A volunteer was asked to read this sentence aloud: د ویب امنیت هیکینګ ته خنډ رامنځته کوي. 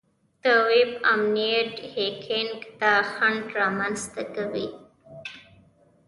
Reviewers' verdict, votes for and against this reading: accepted, 2, 0